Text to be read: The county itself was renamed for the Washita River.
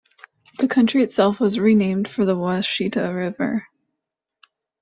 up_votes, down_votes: 1, 2